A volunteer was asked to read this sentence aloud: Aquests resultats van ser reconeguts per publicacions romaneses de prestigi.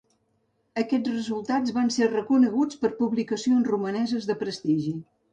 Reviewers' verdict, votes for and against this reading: accepted, 2, 0